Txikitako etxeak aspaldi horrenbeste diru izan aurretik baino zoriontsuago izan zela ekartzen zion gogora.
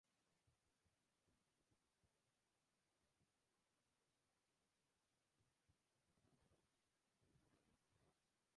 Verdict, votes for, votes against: rejected, 0, 2